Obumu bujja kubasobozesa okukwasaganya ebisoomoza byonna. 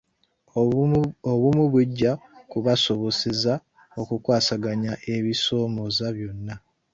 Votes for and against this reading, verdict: 0, 2, rejected